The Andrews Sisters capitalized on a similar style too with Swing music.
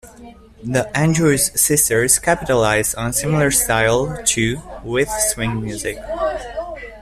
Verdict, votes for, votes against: rejected, 0, 2